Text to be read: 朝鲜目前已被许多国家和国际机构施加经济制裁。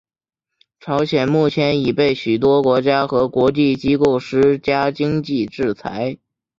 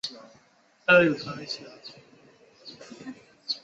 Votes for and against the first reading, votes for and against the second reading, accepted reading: 2, 1, 1, 5, first